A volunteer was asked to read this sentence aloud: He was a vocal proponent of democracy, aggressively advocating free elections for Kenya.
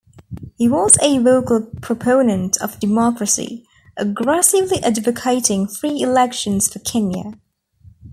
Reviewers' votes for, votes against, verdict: 2, 1, accepted